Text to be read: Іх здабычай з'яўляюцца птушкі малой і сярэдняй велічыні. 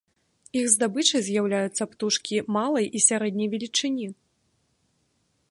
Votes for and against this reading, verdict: 0, 2, rejected